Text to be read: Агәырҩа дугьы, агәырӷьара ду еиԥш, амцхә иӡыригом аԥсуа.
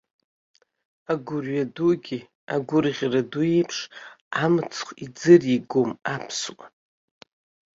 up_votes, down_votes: 2, 0